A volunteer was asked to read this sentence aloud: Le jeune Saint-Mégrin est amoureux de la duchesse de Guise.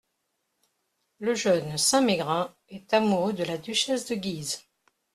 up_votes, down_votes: 2, 0